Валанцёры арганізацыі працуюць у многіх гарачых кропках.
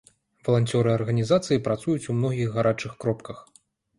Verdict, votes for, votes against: accepted, 2, 0